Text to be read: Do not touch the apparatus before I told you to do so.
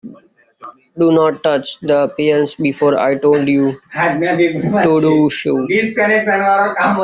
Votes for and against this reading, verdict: 0, 2, rejected